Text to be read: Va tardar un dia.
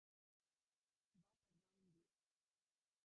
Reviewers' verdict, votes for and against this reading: rejected, 0, 2